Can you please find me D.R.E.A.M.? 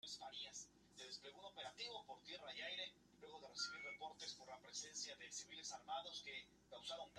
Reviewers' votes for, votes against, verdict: 0, 2, rejected